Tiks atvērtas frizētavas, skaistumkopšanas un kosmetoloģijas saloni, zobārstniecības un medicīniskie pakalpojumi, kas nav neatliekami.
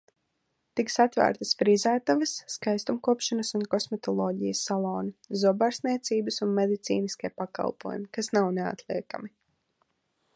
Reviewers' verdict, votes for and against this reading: accepted, 2, 0